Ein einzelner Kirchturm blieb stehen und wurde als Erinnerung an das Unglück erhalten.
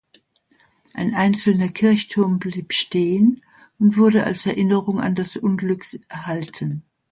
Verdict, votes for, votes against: rejected, 1, 2